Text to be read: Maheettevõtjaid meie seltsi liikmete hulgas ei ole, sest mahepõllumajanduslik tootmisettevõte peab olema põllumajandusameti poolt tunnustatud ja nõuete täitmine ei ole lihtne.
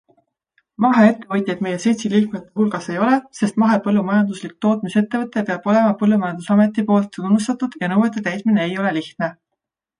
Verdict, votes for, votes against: accepted, 2, 0